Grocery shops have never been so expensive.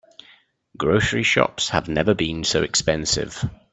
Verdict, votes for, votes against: accepted, 2, 0